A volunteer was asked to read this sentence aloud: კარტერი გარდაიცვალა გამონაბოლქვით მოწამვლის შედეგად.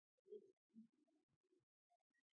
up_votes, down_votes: 0, 2